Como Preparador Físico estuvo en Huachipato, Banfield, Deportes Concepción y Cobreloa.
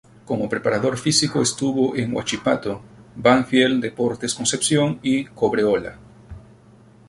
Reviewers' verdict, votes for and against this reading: rejected, 0, 4